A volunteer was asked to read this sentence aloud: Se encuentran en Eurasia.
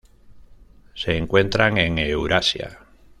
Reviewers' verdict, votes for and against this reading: accepted, 2, 0